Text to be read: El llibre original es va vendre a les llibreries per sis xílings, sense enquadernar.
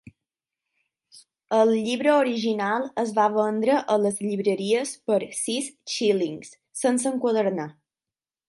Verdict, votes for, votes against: accepted, 9, 0